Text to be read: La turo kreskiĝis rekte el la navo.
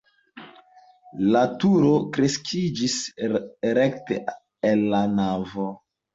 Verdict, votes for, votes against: accepted, 2, 1